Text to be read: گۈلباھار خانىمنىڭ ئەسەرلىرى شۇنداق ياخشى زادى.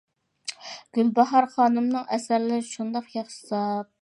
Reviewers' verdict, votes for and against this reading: rejected, 0, 2